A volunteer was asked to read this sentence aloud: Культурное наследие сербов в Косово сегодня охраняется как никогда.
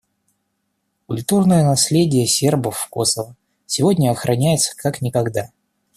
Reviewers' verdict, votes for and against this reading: rejected, 1, 2